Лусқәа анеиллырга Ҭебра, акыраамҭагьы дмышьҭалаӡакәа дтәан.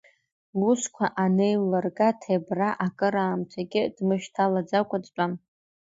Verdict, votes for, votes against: rejected, 0, 2